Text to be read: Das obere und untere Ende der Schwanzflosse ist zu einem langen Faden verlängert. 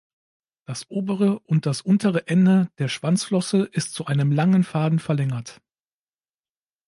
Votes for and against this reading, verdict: 2, 3, rejected